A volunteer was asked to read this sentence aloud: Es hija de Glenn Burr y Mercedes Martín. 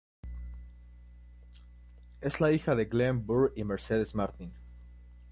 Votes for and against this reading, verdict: 0, 2, rejected